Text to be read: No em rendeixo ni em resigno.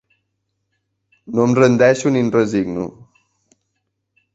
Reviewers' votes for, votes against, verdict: 2, 0, accepted